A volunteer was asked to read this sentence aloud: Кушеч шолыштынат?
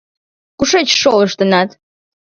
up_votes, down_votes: 2, 0